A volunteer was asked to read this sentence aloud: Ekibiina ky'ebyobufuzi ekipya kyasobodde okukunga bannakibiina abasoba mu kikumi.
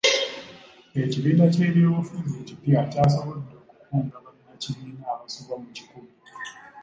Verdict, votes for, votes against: rejected, 0, 2